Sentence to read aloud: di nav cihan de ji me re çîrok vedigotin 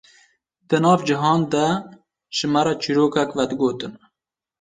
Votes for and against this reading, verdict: 0, 2, rejected